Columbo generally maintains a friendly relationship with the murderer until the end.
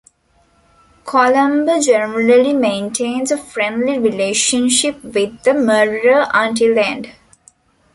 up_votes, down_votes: 0, 2